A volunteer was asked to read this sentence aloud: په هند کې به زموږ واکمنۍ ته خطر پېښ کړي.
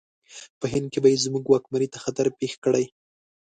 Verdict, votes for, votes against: accepted, 2, 0